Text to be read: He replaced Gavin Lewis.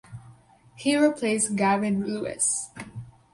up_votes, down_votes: 4, 0